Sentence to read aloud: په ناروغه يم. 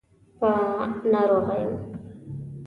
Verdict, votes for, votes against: rejected, 0, 2